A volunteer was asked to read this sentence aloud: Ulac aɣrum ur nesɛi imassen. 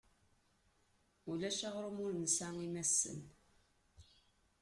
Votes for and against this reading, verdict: 2, 1, accepted